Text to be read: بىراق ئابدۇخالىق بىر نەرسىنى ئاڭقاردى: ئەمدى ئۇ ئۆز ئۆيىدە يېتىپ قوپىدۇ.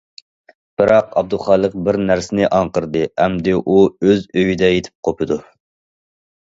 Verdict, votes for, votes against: rejected, 1, 2